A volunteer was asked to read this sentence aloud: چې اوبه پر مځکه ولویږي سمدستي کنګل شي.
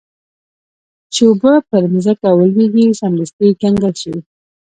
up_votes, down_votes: 0, 2